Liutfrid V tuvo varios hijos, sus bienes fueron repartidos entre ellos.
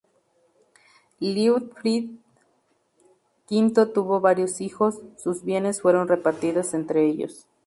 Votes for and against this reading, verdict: 2, 2, rejected